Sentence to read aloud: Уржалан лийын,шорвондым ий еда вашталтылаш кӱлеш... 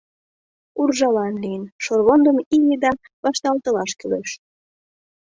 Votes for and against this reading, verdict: 2, 0, accepted